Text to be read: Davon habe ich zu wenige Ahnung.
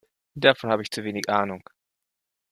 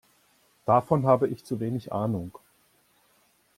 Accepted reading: first